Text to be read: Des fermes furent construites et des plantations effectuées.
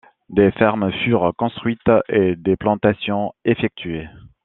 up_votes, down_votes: 0, 2